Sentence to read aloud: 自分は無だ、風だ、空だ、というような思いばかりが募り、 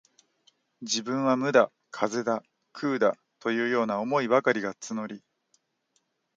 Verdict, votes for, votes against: accepted, 2, 1